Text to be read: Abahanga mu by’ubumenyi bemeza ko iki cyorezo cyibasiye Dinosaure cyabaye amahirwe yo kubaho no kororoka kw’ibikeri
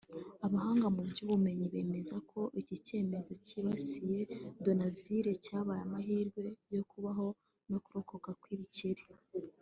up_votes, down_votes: 0, 2